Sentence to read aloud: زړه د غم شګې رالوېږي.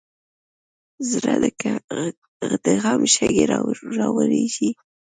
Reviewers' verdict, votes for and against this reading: rejected, 1, 2